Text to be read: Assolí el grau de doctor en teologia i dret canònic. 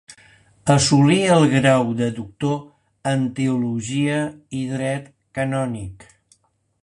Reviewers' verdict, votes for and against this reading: accepted, 2, 0